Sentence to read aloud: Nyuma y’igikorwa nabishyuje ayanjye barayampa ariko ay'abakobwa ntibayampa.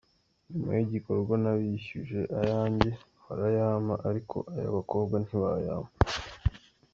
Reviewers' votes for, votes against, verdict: 0, 2, rejected